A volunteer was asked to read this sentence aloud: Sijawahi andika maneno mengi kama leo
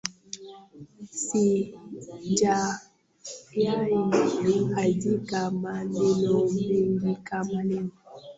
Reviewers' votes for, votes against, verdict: 0, 2, rejected